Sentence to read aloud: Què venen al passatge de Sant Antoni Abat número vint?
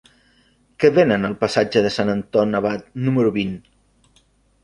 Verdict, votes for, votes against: rejected, 0, 2